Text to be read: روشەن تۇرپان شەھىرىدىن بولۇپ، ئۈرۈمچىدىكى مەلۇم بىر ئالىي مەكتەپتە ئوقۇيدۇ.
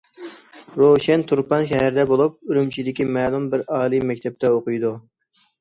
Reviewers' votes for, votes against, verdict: 0, 2, rejected